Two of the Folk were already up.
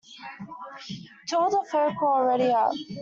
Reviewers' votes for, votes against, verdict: 0, 2, rejected